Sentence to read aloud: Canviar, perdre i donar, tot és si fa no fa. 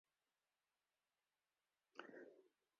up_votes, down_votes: 0, 2